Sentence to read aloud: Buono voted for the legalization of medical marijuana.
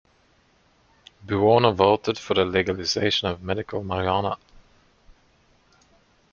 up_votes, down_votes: 1, 2